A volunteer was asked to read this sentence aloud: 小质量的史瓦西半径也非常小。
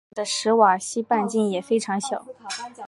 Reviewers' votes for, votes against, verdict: 1, 2, rejected